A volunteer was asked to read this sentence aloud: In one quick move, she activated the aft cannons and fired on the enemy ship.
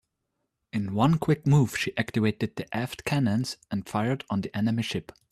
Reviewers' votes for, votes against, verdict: 3, 0, accepted